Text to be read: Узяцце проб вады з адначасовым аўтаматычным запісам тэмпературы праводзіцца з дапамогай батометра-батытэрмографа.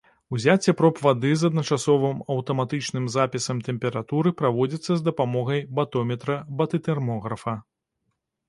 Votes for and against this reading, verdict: 2, 0, accepted